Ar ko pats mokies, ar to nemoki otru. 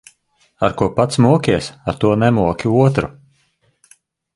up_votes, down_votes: 3, 0